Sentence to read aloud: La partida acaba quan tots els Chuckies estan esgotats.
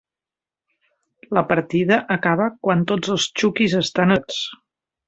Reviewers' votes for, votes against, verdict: 0, 2, rejected